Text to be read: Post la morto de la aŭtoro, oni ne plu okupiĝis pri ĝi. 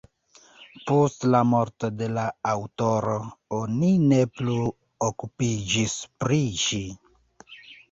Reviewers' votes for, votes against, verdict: 3, 2, accepted